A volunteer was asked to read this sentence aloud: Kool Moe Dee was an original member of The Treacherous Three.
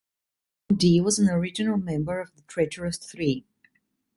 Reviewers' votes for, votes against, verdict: 0, 2, rejected